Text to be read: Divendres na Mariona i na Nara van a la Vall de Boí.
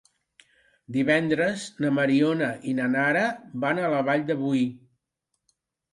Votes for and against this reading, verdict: 5, 0, accepted